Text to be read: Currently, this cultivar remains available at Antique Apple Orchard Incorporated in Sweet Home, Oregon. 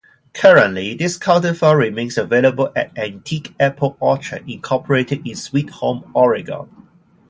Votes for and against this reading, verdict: 0, 2, rejected